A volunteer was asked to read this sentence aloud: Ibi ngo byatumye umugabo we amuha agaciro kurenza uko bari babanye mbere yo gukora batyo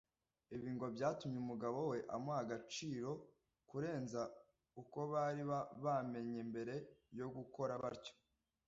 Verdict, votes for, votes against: rejected, 1, 2